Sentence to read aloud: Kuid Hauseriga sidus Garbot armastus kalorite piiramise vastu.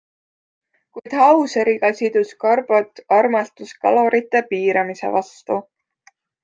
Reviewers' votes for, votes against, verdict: 2, 0, accepted